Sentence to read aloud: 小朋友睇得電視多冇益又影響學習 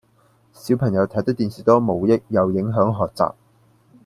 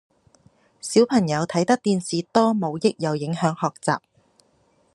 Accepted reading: second